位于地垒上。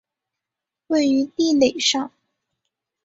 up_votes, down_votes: 0, 2